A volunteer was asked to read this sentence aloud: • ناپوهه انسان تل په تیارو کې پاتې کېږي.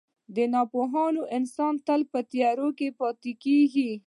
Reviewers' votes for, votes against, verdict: 0, 2, rejected